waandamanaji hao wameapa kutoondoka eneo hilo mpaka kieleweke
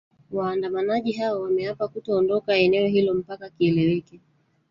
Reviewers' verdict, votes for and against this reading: rejected, 1, 2